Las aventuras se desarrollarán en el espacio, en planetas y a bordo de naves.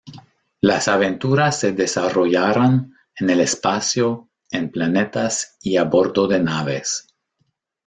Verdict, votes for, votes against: rejected, 0, 2